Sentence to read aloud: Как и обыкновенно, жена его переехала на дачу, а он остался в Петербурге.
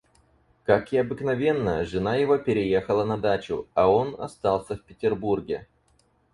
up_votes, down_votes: 4, 0